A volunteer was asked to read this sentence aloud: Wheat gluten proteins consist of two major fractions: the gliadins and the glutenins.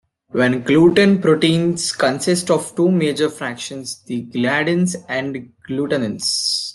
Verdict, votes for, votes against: rejected, 1, 2